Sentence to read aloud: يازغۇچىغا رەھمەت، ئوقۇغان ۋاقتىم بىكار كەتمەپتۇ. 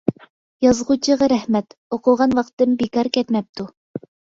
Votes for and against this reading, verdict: 2, 0, accepted